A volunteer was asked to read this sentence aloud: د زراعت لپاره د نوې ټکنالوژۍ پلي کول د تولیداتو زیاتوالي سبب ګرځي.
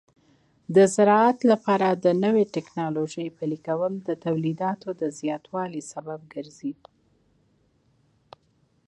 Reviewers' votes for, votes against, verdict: 1, 2, rejected